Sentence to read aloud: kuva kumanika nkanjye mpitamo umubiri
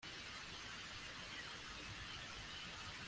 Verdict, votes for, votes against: rejected, 0, 2